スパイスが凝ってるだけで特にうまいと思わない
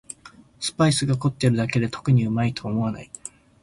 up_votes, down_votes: 6, 7